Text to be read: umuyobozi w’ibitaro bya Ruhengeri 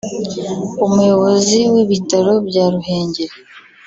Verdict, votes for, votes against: accepted, 2, 0